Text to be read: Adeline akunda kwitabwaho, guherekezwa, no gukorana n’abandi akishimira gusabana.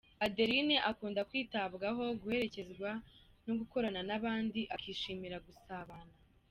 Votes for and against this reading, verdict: 2, 0, accepted